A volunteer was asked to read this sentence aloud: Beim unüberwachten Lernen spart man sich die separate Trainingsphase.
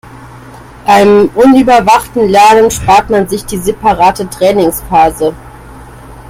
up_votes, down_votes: 2, 0